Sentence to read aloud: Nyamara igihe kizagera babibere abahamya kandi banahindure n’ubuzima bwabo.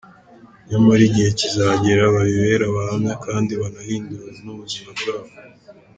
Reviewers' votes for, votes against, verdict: 2, 1, accepted